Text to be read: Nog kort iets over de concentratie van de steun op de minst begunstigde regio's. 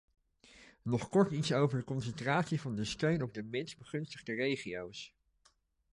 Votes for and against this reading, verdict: 2, 1, accepted